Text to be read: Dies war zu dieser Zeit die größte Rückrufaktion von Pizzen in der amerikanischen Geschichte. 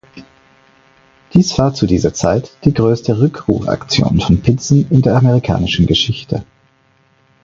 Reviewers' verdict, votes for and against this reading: accepted, 4, 0